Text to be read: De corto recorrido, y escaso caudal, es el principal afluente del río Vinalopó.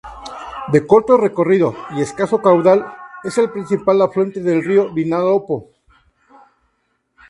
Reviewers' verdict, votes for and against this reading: rejected, 0, 2